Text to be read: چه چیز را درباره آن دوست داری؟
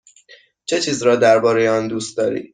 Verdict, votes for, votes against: accepted, 2, 0